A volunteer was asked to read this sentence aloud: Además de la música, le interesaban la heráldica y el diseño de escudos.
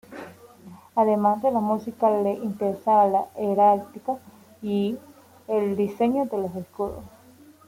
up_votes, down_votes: 0, 2